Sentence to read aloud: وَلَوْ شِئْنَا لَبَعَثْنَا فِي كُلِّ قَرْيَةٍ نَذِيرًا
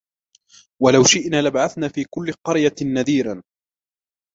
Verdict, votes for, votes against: accepted, 2, 1